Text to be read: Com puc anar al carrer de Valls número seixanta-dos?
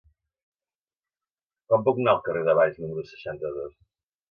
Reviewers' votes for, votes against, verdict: 0, 2, rejected